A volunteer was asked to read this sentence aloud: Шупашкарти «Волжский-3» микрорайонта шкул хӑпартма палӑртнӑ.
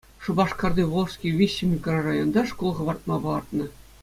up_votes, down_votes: 0, 2